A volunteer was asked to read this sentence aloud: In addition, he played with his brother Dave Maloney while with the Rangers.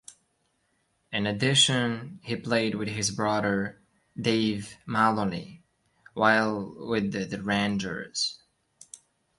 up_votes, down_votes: 2, 0